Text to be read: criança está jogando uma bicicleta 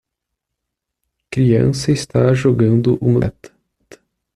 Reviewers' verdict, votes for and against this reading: rejected, 0, 2